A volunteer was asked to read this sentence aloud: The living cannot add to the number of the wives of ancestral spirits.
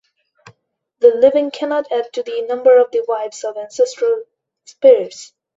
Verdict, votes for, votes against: accepted, 2, 0